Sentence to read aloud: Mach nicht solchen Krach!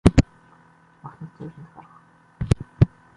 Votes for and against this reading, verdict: 1, 2, rejected